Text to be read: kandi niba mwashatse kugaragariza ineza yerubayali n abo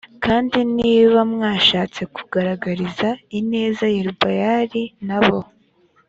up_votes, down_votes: 2, 0